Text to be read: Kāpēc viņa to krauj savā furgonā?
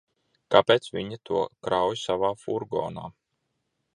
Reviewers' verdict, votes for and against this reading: accepted, 2, 0